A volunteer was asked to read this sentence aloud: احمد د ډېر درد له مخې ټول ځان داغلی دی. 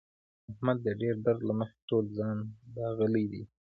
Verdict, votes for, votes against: rejected, 1, 2